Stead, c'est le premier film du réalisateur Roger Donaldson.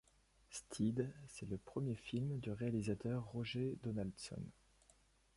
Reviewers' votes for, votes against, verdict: 0, 2, rejected